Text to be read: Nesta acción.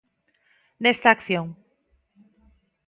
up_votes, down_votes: 2, 0